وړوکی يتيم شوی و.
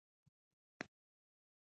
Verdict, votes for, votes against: rejected, 1, 2